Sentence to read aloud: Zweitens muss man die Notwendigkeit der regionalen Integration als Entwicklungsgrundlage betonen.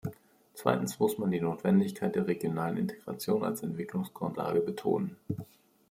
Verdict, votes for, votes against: accepted, 2, 0